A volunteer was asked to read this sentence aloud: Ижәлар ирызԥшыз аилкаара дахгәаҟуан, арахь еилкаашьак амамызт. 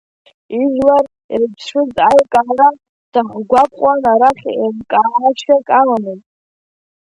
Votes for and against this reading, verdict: 1, 3, rejected